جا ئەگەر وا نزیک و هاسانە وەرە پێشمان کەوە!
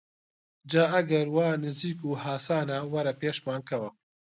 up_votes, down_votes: 2, 0